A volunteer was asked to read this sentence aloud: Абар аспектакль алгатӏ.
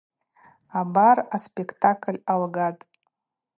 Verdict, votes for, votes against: accepted, 2, 0